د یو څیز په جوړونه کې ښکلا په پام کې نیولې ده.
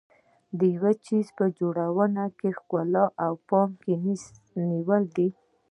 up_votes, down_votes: 2, 0